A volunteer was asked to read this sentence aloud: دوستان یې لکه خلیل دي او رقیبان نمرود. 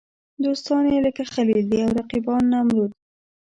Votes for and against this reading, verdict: 0, 2, rejected